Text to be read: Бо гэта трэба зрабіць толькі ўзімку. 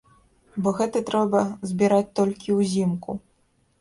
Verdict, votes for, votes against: rejected, 0, 2